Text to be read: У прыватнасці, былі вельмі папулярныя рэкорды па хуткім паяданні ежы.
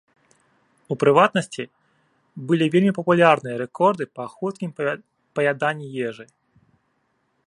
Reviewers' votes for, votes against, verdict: 0, 2, rejected